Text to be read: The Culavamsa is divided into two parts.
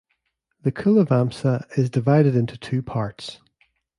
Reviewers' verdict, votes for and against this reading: accepted, 2, 0